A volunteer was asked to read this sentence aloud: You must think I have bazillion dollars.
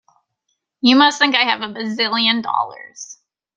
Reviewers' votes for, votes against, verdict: 2, 0, accepted